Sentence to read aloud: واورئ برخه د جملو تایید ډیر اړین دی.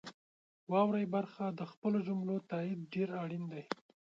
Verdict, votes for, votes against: rejected, 1, 2